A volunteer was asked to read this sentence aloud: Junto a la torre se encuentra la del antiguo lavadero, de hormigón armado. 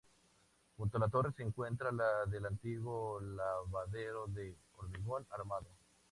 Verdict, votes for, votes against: rejected, 2, 2